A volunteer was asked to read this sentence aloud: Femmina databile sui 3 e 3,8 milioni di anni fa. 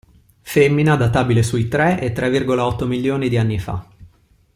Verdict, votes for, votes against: rejected, 0, 2